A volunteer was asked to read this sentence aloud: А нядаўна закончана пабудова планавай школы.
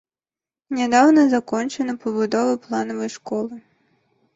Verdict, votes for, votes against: accepted, 2, 0